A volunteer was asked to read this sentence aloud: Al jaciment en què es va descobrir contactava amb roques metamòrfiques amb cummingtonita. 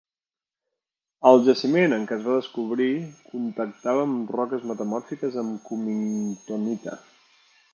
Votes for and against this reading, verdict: 1, 3, rejected